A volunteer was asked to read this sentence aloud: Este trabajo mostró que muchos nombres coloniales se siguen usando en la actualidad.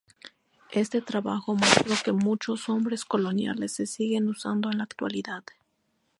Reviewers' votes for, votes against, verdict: 0, 4, rejected